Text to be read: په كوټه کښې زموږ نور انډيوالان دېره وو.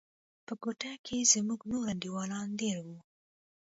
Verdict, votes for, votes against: accepted, 2, 0